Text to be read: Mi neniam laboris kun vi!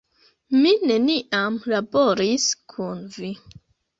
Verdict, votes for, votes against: accepted, 2, 1